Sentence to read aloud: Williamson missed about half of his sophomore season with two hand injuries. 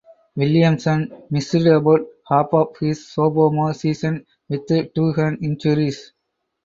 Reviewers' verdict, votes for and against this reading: rejected, 2, 2